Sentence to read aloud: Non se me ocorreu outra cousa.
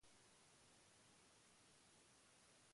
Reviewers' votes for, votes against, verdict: 0, 2, rejected